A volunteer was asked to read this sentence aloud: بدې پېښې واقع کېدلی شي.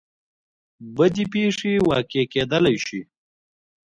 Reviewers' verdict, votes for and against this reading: rejected, 1, 2